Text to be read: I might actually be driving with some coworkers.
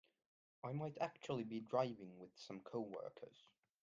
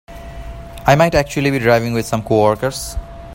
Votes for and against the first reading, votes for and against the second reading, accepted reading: 1, 2, 4, 0, second